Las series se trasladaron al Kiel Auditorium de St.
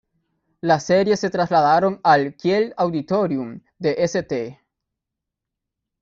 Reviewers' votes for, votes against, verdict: 2, 1, accepted